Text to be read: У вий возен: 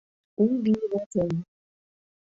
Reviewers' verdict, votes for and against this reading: rejected, 1, 2